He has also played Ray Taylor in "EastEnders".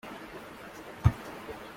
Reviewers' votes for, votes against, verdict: 0, 2, rejected